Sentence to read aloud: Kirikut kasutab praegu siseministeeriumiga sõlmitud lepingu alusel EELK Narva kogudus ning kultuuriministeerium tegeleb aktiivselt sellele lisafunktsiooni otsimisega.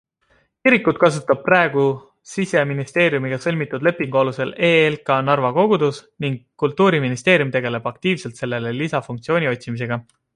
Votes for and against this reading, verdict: 2, 0, accepted